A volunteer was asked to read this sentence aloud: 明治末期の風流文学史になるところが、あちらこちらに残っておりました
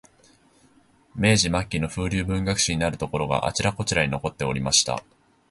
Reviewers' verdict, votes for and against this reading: accepted, 2, 0